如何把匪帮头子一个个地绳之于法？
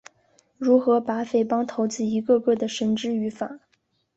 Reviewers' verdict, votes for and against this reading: accepted, 2, 0